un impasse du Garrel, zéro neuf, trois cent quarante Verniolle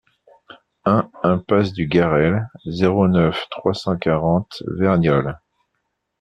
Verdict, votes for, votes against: accepted, 2, 0